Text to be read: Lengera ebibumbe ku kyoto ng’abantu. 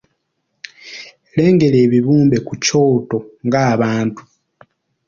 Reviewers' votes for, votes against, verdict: 2, 0, accepted